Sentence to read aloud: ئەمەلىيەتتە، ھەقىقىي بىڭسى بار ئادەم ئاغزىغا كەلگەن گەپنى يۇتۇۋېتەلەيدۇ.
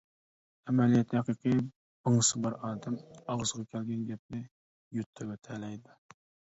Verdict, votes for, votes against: rejected, 0, 2